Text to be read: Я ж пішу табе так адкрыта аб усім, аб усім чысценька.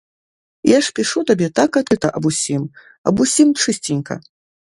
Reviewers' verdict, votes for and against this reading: rejected, 0, 2